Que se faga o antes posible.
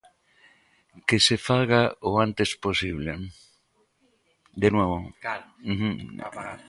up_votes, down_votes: 0, 2